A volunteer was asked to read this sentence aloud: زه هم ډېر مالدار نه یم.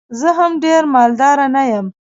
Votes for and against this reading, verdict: 1, 2, rejected